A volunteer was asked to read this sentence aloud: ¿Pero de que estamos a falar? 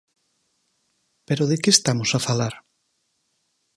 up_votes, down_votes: 4, 0